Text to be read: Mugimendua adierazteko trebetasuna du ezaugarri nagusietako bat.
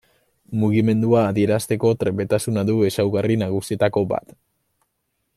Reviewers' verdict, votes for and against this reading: accepted, 2, 0